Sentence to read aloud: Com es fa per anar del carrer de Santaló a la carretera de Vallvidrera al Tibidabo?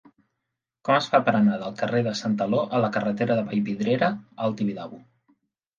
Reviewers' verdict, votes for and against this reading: accepted, 2, 0